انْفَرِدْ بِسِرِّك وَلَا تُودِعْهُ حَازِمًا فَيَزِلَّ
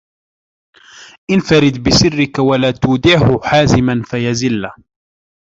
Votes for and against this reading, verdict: 2, 0, accepted